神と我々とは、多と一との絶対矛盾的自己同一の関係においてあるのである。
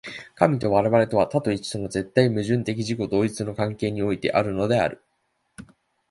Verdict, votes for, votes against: accepted, 3, 0